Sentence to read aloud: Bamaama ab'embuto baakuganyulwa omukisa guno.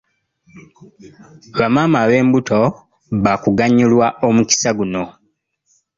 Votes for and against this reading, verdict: 3, 0, accepted